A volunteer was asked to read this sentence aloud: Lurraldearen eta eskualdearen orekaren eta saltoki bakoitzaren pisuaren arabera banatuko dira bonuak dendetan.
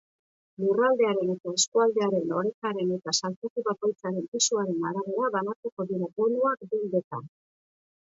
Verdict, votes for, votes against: accepted, 2, 0